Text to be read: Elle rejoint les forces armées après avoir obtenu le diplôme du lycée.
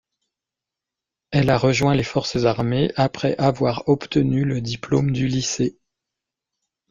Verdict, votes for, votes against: rejected, 0, 2